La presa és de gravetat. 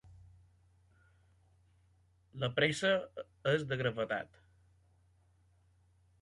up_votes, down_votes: 0, 2